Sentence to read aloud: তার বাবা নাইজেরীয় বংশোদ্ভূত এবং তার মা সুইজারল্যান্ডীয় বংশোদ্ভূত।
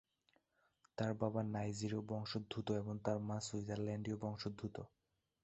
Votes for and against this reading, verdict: 1, 2, rejected